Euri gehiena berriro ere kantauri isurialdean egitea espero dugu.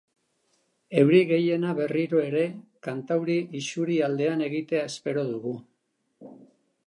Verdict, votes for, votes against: accepted, 3, 0